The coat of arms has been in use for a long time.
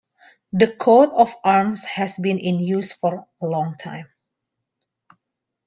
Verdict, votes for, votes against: accepted, 2, 1